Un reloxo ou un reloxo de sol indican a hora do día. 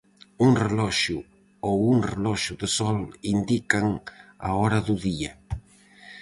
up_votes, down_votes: 4, 0